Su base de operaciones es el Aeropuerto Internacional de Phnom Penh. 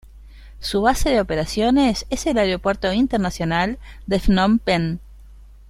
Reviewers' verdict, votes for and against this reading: rejected, 1, 2